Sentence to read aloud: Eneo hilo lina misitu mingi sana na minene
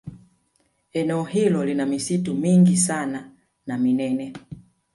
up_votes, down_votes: 2, 1